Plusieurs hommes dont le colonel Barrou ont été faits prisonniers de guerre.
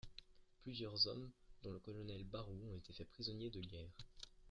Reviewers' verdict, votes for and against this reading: accepted, 3, 1